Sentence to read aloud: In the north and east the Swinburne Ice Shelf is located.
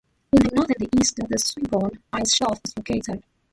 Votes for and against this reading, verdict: 1, 2, rejected